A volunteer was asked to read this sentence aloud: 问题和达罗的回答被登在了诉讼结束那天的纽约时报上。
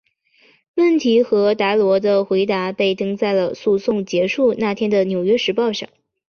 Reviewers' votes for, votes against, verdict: 2, 0, accepted